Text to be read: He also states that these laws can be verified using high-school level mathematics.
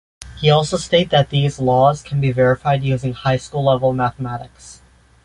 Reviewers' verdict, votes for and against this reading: accepted, 2, 0